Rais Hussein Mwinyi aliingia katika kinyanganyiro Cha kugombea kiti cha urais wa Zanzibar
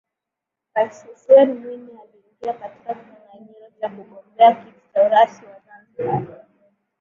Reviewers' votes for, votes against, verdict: 5, 4, accepted